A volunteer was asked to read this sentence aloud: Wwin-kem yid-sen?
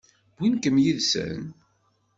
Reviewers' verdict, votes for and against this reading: accepted, 2, 0